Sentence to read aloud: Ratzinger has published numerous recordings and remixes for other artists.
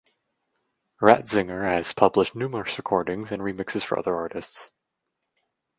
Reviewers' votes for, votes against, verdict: 2, 0, accepted